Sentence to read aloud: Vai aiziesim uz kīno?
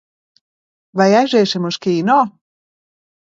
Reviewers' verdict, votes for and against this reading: accepted, 2, 0